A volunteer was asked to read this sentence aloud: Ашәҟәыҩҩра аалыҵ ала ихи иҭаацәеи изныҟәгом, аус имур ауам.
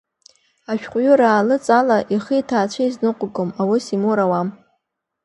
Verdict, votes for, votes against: accepted, 2, 0